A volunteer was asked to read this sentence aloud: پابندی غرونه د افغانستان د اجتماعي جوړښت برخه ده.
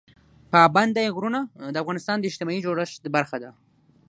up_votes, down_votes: 6, 0